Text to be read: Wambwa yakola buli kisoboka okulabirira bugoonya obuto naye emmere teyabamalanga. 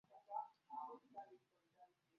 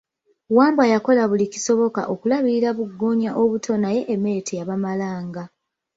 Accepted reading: second